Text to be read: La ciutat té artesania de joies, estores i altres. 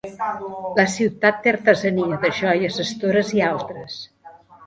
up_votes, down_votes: 0, 2